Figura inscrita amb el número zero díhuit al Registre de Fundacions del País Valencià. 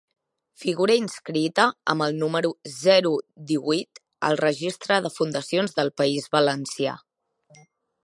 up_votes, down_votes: 2, 0